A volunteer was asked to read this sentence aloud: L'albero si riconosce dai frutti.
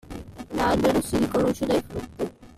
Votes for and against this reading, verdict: 0, 2, rejected